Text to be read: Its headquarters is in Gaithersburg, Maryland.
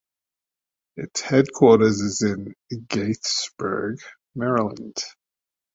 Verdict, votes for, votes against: rejected, 1, 2